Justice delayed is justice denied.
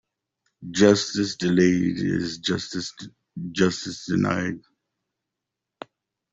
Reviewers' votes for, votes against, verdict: 0, 2, rejected